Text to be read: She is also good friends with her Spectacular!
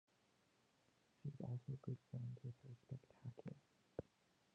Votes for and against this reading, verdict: 0, 2, rejected